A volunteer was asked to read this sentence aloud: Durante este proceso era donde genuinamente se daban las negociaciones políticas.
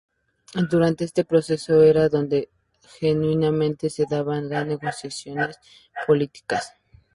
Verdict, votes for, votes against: rejected, 0, 2